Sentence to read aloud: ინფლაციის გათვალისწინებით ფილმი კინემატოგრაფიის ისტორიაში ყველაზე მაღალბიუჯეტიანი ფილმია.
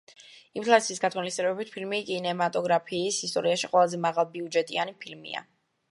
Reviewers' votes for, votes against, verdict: 0, 2, rejected